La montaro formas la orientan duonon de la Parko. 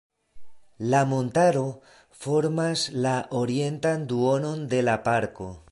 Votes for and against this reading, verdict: 2, 0, accepted